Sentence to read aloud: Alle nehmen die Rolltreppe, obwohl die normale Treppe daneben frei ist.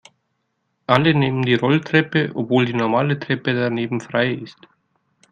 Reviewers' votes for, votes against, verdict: 2, 0, accepted